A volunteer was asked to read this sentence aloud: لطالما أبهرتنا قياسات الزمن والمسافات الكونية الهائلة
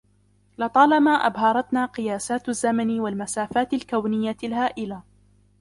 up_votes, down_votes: 2, 0